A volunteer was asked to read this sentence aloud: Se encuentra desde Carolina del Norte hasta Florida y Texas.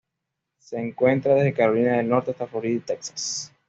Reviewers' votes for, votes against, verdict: 2, 0, accepted